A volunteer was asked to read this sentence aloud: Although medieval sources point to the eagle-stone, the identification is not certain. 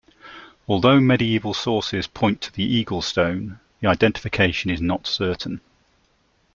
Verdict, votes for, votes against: accepted, 2, 0